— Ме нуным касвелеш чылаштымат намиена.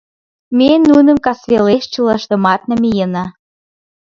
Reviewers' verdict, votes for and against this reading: accepted, 2, 0